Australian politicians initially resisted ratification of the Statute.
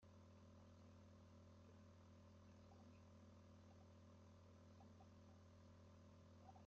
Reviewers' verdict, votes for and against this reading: rejected, 0, 3